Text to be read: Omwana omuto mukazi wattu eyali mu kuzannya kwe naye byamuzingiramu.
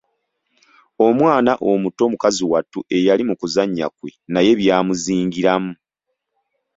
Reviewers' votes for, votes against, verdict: 2, 0, accepted